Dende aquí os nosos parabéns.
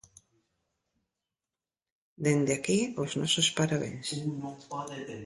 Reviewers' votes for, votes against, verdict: 1, 2, rejected